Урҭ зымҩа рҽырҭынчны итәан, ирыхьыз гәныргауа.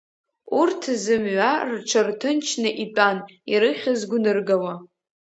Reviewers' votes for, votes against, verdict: 1, 2, rejected